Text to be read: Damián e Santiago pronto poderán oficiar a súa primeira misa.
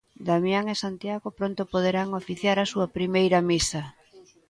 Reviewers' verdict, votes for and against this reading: accepted, 2, 0